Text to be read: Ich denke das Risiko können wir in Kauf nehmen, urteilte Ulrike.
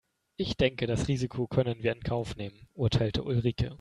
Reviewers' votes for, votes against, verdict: 2, 0, accepted